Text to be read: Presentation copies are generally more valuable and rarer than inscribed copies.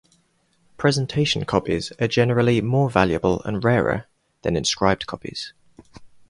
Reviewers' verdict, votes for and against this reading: accepted, 4, 0